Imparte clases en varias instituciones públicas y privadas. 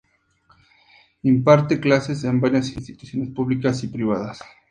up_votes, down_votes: 2, 0